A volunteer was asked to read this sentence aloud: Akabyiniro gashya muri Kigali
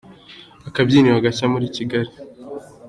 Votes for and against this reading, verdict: 2, 0, accepted